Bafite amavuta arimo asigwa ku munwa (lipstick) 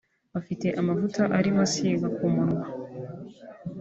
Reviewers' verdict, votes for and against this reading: rejected, 0, 2